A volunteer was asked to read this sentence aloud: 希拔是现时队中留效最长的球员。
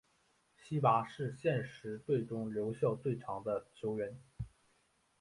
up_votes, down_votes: 2, 0